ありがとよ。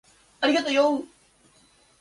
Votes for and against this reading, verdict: 2, 0, accepted